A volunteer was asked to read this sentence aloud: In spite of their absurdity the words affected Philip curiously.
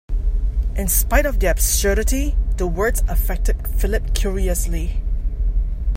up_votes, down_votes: 2, 0